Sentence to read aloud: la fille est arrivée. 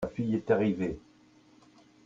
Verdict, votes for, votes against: accepted, 2, 0